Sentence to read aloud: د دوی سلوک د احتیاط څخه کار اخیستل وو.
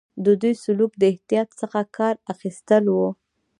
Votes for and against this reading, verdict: 2, 1, accepted